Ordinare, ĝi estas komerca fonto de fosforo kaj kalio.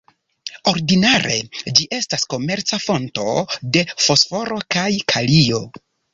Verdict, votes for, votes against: accepted, 2, 0